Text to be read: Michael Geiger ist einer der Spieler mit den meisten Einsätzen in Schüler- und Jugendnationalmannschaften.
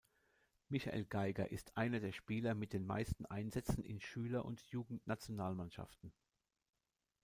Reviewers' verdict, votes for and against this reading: accepted, 2, 0